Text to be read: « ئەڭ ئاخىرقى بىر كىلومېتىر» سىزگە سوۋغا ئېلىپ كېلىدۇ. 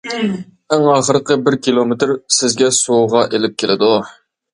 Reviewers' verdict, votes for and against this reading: accepted, 2, 0